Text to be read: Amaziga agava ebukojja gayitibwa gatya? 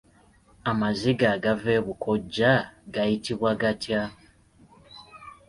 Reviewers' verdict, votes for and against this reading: accepted, 2, 0